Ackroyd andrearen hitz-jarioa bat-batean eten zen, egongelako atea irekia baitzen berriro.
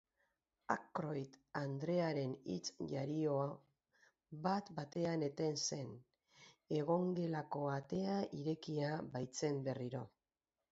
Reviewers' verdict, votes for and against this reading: rejected, 2, 2